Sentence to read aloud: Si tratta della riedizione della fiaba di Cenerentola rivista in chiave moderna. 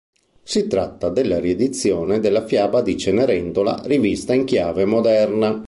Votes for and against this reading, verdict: 2, 0, accepted